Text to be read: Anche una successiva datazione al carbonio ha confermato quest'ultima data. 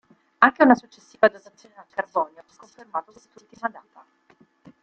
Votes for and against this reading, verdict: 0, 2, rejected